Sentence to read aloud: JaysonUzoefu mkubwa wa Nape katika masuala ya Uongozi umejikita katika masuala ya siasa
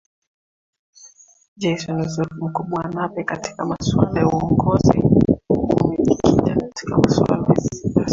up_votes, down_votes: 0, 2